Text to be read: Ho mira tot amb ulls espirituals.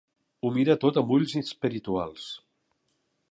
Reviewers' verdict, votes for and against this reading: rejected, 0, 2